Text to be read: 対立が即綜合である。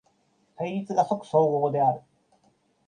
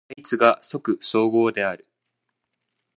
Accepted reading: first